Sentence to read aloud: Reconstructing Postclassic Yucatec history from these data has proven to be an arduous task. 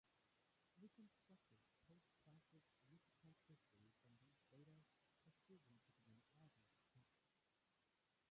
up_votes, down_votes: 0, 2